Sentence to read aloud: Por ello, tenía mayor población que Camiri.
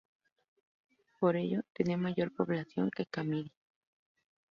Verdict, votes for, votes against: rejected, 2, 2